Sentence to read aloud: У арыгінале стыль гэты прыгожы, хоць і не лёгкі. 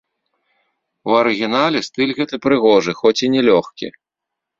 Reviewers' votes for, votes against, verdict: 2, 0, accepted